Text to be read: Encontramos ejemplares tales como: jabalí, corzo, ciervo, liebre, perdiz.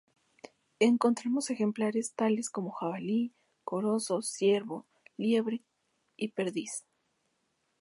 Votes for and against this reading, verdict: 0, 2, rejected